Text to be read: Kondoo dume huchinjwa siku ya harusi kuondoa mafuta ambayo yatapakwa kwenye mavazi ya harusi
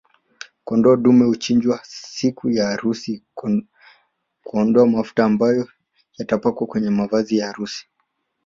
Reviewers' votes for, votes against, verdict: 2, 3, rejected